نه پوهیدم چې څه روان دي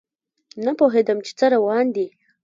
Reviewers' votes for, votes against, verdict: 2, 0, accepted